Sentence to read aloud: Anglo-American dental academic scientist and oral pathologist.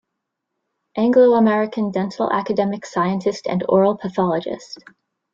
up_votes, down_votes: 0, 2